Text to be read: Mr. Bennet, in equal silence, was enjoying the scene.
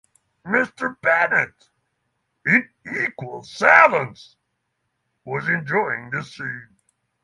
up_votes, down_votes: 6, 0